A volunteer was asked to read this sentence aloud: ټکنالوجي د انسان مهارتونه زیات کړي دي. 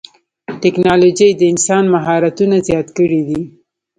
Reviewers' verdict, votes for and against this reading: rejected, 1, 2